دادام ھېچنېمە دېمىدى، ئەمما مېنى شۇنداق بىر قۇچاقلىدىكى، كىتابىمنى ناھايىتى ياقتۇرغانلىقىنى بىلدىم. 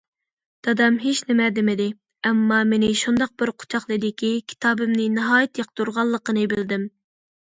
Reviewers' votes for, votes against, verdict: 2, 0, accepted